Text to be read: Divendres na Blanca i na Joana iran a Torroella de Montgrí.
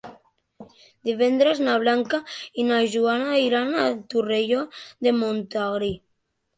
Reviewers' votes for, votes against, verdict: 0, 2, rejected